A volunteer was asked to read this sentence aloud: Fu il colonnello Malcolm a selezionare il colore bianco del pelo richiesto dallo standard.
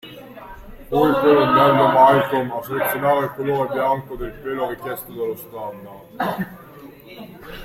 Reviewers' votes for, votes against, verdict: 1, 2, rejected